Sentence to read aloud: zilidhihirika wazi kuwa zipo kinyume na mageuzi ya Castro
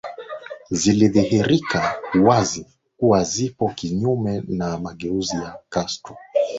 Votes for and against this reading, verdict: 2, 0, accepted